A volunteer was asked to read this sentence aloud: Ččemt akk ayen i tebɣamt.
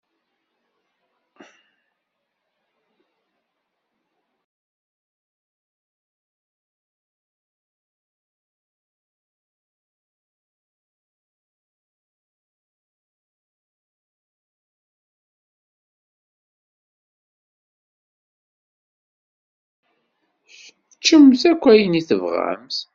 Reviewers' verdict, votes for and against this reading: rejected, 0, 2